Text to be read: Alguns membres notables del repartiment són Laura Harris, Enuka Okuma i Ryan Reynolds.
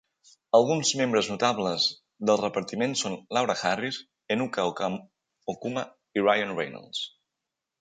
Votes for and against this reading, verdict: 1, 2, rejected